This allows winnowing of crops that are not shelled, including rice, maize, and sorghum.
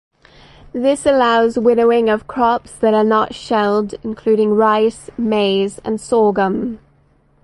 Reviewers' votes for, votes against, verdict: 4, 0, accepted